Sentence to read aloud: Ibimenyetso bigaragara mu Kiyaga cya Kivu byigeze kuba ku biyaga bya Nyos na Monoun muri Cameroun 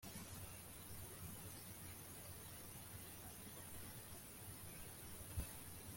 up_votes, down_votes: 0, 2